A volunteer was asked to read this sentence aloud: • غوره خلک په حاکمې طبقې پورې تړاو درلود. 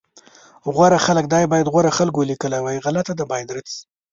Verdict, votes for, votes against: rejected, 1, 2